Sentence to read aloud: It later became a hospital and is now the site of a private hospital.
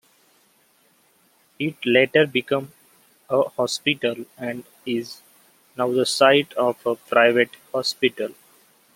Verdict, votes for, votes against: rejected, 0, 2